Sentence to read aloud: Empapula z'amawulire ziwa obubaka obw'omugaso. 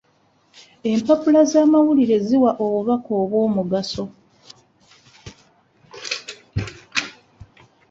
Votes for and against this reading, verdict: 0, 2, rejected